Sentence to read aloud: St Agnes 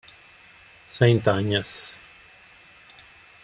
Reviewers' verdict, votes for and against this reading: rejected, 1, 2